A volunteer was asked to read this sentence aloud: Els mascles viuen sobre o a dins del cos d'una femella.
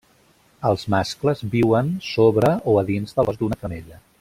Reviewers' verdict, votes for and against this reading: rejected, 0, 2